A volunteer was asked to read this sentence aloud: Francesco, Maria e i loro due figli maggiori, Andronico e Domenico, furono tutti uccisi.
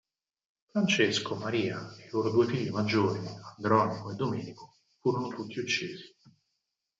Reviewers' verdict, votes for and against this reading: accepted, 4, 0